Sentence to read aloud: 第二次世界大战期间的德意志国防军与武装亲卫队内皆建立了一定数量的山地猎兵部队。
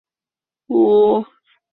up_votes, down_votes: 0, 4